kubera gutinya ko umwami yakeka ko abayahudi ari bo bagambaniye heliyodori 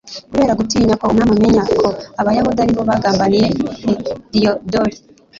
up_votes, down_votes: 2, 1